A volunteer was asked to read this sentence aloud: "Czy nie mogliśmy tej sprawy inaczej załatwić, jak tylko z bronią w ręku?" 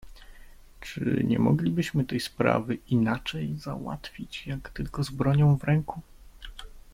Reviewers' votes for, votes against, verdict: 1, 2, rejected